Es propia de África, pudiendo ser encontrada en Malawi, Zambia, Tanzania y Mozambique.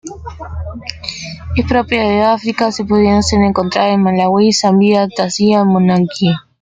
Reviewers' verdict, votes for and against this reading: rejected, 0, 2